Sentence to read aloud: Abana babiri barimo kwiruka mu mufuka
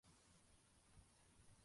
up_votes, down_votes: 0, 2